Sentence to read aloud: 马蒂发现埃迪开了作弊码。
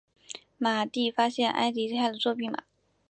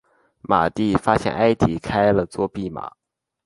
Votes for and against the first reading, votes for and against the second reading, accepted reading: 0, 2, 2, 0, second